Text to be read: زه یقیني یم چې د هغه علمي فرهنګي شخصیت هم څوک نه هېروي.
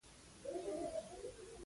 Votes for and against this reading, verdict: 0, 2, rejected